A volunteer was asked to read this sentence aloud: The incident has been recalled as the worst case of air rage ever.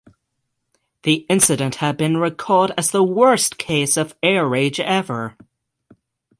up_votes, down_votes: 0, 6